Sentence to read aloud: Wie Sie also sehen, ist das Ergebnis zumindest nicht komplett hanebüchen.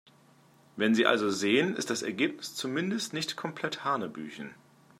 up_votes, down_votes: 1, 2